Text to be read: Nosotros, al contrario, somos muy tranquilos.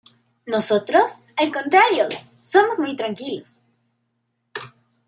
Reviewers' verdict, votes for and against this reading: accepted, 2, 0